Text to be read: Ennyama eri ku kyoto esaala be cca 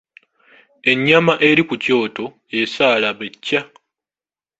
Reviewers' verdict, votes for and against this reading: accepted, 2, 1